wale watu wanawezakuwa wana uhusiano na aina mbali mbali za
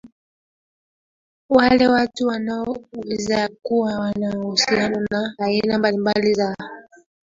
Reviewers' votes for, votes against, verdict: 0, 2, rejected